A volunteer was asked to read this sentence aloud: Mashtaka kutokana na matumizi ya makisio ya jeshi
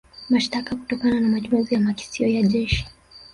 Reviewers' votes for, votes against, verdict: 1, 2, rejected